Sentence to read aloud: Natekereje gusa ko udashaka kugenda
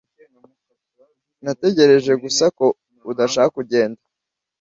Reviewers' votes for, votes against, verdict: 1, 2, rejected